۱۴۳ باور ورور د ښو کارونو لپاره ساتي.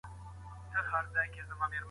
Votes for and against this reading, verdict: 0, 2, rejected